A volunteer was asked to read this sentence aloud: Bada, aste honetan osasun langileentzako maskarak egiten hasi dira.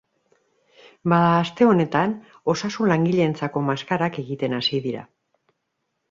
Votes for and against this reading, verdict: 3, 0, accepted